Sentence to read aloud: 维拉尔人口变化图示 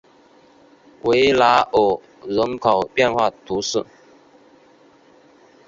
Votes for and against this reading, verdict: 3, 0, accepted